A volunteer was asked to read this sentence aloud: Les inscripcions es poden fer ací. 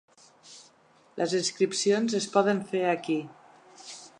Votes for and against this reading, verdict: 1, 2, rejected